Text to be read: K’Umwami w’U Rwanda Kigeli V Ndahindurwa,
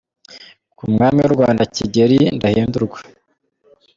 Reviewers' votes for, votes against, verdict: 1, 2, rejected